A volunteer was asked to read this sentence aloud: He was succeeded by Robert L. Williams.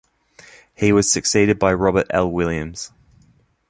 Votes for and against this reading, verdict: 3, 0, accepted